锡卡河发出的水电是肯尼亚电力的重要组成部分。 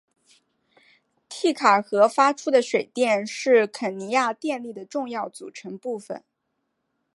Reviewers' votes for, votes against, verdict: 2, 0, accepted